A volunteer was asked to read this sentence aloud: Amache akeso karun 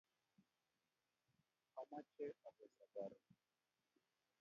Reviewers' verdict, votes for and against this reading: rejected, 0, 2